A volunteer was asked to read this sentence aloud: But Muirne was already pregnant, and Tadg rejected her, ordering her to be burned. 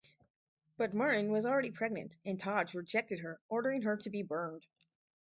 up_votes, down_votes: 2, 2